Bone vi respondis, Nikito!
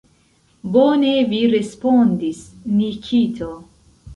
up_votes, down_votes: 0, 2